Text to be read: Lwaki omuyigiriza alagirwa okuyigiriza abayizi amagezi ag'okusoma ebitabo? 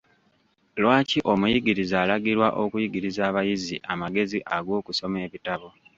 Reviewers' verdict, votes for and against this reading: rejected, 1, 2